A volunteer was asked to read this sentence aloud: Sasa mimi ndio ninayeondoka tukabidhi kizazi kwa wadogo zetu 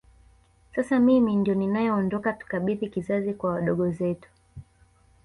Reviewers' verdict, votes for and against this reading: rejected, 1, 2